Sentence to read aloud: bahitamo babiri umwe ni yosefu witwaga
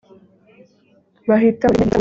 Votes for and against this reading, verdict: 0, 3, rejected